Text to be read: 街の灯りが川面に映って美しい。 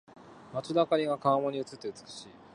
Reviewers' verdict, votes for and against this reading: accepted, 2, 0